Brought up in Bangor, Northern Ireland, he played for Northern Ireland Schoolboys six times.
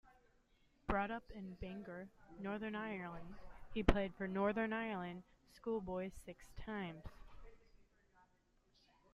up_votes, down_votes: 2, 1